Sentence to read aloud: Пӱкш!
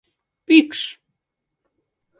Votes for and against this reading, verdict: 2, 0, accepted